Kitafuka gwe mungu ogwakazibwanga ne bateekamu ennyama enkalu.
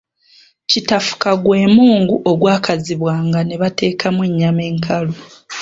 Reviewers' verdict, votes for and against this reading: accepted, 2, 0